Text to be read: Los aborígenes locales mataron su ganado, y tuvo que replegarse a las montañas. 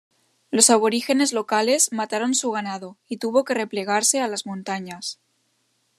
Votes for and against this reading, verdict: 2, 0, accepted